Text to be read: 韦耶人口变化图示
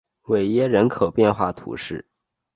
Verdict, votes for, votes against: accepted, 3, 0